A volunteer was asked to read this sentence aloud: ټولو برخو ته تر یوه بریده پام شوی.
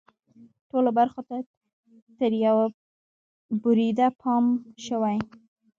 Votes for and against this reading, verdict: 1, 2, rejected